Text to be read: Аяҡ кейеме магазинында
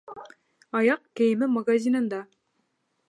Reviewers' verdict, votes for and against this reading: accepted, 2, 0